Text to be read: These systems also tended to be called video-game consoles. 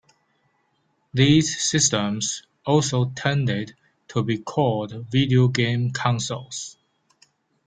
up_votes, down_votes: 2, 0